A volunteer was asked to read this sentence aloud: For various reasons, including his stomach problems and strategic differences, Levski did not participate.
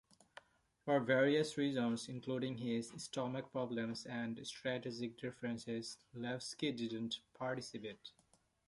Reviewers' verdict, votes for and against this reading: rejected, 1, 2